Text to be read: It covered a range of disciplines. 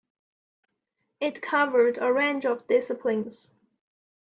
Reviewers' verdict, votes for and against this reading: accepted, 2, 0